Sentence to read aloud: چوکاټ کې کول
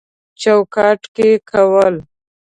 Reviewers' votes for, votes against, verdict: 2, 0, accepted